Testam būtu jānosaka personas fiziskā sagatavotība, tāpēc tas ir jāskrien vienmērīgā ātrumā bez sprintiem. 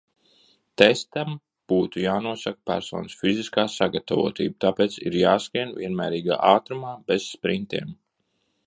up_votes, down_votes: 0, 2